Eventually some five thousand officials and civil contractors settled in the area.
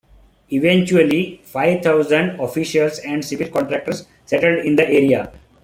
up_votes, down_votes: 0, 2